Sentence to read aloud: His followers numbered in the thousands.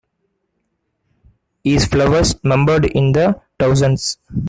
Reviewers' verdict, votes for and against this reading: rejected, 1, 2